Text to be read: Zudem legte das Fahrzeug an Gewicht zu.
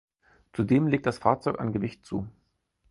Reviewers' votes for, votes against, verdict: 2, 4, rejected